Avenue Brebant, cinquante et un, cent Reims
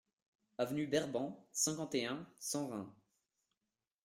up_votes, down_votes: 0, 2